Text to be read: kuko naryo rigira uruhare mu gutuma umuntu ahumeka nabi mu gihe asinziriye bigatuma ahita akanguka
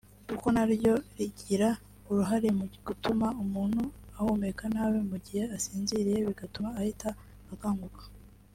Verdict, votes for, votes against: accepted, 2, 1